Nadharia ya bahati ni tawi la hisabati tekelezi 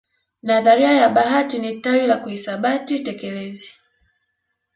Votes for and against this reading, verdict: 1, 2, rejected